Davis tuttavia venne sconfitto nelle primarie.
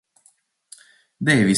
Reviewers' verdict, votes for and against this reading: rejected, 0, 2